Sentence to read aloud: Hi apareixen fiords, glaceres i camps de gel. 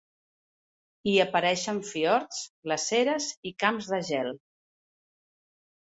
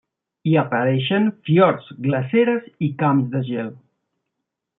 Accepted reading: first